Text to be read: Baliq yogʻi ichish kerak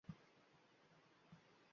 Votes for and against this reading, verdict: 0, 2, rejected